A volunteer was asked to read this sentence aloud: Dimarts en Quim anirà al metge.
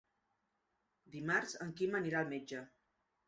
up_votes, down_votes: 3, 1